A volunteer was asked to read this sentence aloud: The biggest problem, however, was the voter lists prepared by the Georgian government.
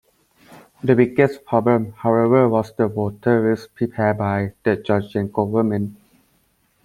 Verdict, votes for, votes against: rejected, 0, 2